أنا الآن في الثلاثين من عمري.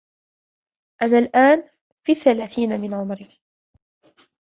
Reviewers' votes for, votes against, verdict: 3, 2, accepted